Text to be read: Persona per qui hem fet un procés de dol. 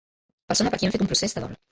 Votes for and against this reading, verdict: 0, 2, rejected